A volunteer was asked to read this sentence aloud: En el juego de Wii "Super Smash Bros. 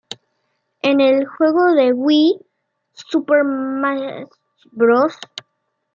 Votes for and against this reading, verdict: 1, 2, rejected